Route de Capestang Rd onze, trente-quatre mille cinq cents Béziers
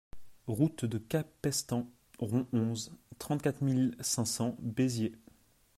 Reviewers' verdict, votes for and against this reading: accepted, 2, 1